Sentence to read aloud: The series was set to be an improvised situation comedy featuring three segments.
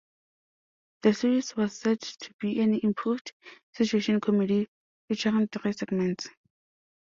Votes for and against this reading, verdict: 1, 2, rejected